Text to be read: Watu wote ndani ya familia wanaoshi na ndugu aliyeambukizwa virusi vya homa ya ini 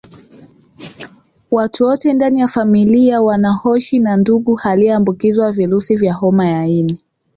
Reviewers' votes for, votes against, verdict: 3, 0, accepted